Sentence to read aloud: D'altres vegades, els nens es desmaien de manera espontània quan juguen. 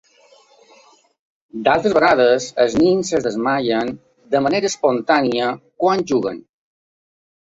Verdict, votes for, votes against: accepted, 2, 0